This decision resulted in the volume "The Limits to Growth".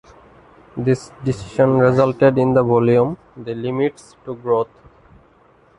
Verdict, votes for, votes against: accepted, 2, 0